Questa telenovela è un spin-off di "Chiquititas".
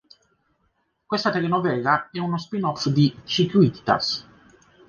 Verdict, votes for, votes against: rejected, 0, 2